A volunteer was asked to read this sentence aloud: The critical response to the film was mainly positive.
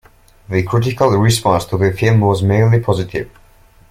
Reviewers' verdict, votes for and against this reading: accepted, 2, 1